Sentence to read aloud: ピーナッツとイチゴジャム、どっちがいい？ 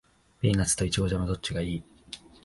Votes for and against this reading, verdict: 2, 0, accepted